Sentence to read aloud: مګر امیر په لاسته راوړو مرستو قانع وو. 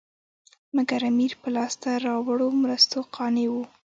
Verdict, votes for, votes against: accepted, 2, 0